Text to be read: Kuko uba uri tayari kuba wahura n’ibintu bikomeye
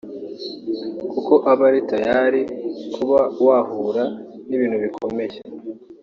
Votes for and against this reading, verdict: 1, 2, rejected